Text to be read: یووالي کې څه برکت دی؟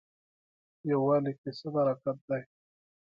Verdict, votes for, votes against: accepted, 2, 0